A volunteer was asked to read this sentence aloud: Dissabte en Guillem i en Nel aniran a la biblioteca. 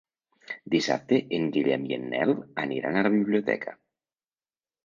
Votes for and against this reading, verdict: 3, 0, accepted